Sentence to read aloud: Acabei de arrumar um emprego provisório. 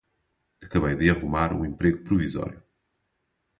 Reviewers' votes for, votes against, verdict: 2, 2, rejected